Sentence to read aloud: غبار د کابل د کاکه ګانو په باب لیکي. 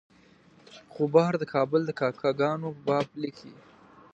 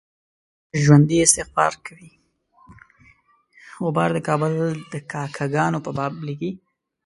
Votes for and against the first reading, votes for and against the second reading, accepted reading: 2, 0, 1, 2, first